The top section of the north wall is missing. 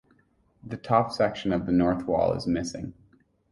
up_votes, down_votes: 6, 0